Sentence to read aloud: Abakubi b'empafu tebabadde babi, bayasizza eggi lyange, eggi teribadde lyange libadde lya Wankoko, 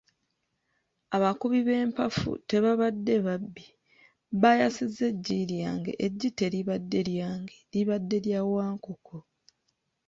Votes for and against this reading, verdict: 0, 2, rejected